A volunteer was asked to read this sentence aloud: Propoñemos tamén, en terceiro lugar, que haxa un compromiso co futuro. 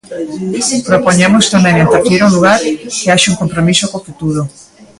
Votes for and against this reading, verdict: 0, 2, rejected